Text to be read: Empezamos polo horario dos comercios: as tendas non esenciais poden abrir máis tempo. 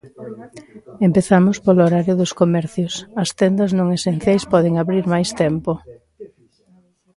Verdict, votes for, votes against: accepted, 2, 1